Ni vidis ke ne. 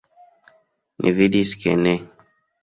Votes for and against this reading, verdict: 2, 0, accepted